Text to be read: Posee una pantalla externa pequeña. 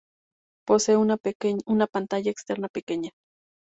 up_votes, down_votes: 2, 0